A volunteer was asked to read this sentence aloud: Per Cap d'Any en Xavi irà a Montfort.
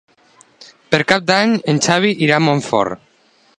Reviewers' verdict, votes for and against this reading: accepted, 3, 0